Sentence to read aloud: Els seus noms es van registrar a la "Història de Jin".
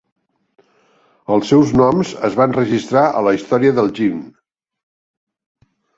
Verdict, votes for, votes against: rejected, 2, 6